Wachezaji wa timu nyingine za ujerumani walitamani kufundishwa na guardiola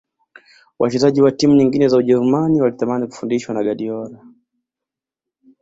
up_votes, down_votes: 2, 0